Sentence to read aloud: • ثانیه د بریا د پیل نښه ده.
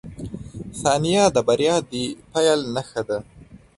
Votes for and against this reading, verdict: 2, 0, accepted